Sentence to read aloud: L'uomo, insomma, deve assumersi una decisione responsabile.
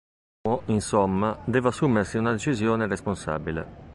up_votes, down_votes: 0, 2